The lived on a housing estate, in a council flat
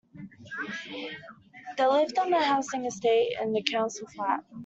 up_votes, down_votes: 2, 0